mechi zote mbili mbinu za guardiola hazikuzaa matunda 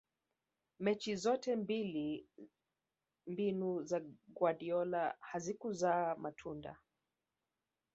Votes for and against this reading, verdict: 1, 2, rejected